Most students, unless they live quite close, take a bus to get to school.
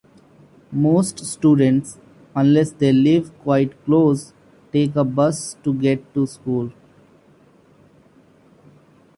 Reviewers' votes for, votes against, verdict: 2, 0, accepted